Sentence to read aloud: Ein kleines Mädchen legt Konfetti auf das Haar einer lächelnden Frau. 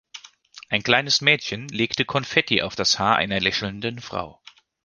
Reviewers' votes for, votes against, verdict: 1, 2, rejected